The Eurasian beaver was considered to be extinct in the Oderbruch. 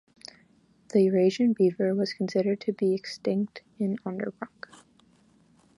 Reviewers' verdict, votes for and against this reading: rejected, 0, 2